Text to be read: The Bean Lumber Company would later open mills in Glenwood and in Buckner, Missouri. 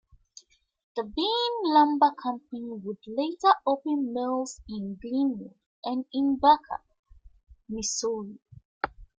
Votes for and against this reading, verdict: 2, 0, accepted